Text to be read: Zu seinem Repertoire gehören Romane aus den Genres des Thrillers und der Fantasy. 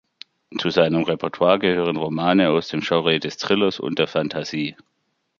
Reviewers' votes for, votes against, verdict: 1, 2, rejected